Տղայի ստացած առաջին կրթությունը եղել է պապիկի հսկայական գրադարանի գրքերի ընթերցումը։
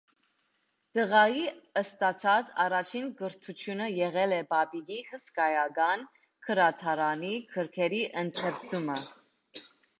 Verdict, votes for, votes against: accepted, 2, 0